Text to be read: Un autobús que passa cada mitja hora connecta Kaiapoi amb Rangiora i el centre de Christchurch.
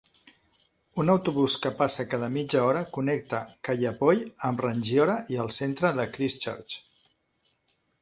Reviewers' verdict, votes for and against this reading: accepted, 2, 0